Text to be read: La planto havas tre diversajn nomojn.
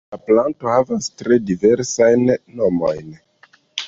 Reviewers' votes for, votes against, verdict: 1, 2, rejected